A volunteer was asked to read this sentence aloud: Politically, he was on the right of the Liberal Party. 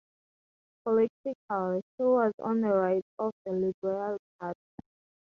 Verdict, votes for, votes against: rejected, 0, 4